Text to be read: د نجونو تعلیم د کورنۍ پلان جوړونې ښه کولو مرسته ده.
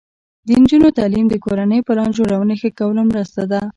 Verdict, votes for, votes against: rejected, 1, 2